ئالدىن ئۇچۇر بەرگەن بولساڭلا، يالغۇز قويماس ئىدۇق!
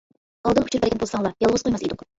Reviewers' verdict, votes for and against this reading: rejected, 0, 2